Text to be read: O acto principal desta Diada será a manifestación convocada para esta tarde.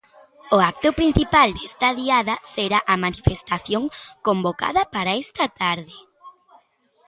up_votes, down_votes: 2, 0